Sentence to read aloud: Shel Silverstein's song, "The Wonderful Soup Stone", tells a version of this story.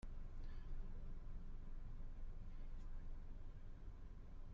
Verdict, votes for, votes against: rejected, 0, 2